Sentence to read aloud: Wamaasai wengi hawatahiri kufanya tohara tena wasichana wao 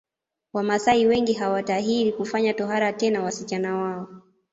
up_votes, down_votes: 2, 0